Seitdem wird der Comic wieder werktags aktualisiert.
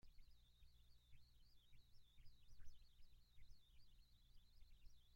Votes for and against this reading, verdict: 0, 2, rejected